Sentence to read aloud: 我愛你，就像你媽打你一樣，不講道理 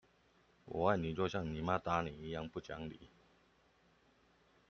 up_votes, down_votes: 1, 2